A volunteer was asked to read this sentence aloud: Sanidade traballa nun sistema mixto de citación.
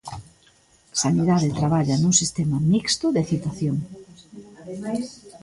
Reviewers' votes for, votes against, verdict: 1, 2, rejected